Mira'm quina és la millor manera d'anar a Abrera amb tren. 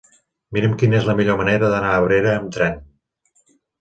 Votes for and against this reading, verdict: 3, 0, accepted